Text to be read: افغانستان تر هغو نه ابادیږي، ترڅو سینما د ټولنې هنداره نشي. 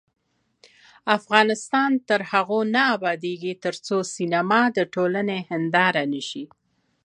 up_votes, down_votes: 1, 2